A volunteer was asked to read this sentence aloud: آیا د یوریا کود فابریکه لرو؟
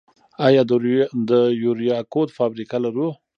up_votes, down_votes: 1, 2